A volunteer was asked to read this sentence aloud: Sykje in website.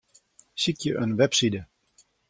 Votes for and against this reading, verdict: 1, 2, rejected